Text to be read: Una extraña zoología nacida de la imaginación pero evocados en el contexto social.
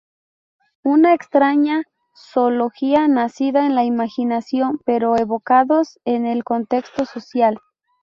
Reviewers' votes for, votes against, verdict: 0, 2, rejected